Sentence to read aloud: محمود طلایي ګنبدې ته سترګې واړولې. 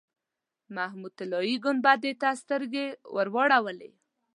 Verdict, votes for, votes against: accepted, 2, 0